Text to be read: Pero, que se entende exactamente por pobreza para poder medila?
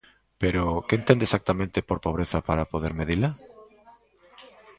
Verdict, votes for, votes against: rejected, 0, 2